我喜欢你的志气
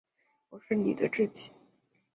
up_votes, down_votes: 2, 1